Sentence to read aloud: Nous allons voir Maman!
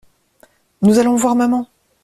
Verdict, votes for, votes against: accepted, 2, 0